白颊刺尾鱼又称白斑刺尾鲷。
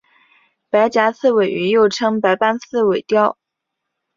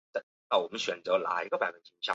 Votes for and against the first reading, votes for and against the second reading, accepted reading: 2, 1, 0, 2, first